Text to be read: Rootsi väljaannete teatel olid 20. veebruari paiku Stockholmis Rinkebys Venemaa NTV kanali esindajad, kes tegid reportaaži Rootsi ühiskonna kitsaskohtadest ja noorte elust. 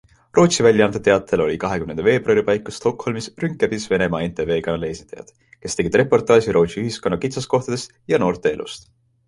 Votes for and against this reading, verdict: 0, 2, rejected